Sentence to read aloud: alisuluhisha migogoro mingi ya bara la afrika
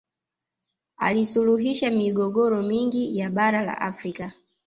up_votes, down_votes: 1, 2